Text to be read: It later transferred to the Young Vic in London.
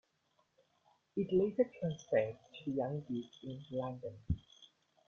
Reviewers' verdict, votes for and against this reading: accepted, 2, 0